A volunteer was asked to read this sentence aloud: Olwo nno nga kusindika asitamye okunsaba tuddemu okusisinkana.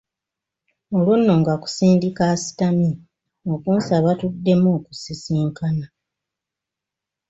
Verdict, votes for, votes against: accepted, 2, 0